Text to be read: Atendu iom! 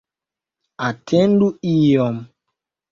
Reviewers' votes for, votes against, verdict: 2, 0, accepted